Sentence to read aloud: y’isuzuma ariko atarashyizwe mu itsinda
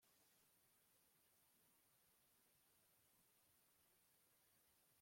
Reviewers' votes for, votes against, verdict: 1, 2, rejected